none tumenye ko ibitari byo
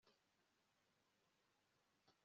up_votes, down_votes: 0, 2